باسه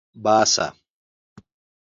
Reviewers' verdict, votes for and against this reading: accepted, 2, 0